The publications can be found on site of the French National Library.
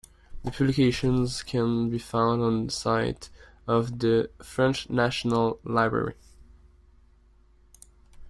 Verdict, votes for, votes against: rejected, 0, 3